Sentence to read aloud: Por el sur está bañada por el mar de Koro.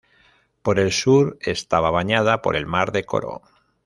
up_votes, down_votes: 0, 2